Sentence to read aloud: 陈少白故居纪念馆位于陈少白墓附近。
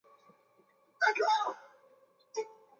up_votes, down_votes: 0, 4